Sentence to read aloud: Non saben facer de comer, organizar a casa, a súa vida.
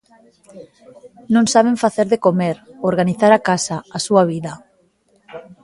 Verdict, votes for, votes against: rejected, 1, 2